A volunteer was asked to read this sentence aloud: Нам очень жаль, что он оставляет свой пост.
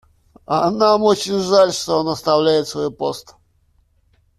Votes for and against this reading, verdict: 1, 2, rejected